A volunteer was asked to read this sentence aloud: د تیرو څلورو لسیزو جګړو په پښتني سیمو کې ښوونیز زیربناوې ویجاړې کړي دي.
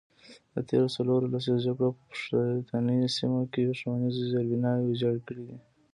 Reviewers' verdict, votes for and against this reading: rejected, 1, 2